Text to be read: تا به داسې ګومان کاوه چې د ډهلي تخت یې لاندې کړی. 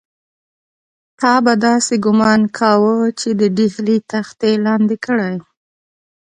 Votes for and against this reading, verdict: 2, 0, accepted